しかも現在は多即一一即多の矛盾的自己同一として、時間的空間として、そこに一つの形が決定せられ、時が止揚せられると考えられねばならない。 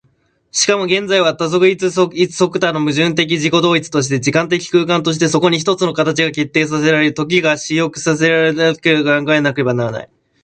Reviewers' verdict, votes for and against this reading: rejected, 0, 2